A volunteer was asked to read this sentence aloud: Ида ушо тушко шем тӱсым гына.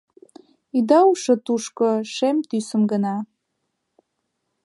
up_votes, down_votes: 2, 0